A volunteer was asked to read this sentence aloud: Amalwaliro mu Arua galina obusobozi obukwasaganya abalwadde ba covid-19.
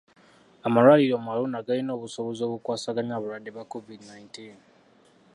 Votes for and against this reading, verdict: 0, 2, rejected